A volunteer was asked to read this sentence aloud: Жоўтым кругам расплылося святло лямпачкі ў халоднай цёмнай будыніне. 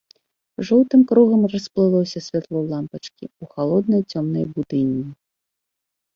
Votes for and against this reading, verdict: 1, 2, rejected